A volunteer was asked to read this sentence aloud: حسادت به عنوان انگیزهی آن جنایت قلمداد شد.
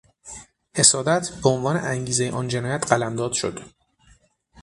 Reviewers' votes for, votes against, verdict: 6, 3, accepted